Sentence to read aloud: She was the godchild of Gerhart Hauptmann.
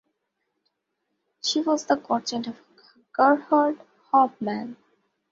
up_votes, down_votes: 2, 0